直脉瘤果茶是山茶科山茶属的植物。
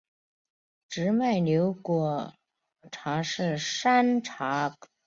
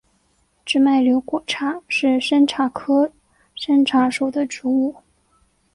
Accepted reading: second